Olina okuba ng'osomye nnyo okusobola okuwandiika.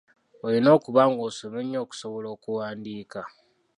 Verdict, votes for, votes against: rejected, 1, 2